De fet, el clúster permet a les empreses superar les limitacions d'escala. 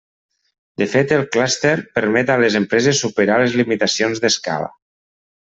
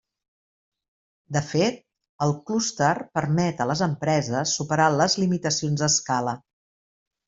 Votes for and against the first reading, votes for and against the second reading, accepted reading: 0, 2, 3, 0, second